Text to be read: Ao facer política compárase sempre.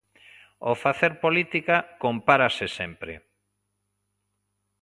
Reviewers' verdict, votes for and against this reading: accepted, 2, 0